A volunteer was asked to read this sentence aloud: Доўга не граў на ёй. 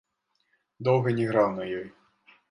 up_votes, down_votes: 2, 0